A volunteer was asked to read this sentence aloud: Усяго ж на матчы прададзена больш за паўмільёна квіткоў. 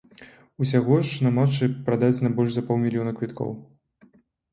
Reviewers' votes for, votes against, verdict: 2, 0, accepted